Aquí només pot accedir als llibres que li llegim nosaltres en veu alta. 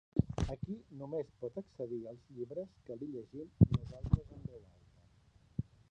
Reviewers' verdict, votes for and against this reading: rejected, 0, 2